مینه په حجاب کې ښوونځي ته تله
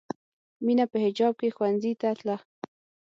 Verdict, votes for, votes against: accepted, 6, 0